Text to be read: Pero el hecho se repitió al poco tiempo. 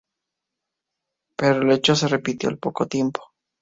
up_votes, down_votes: 2, 0